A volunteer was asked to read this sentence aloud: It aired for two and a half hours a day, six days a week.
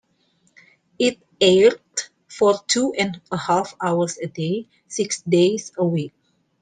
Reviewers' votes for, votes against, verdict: 2, 0, accepted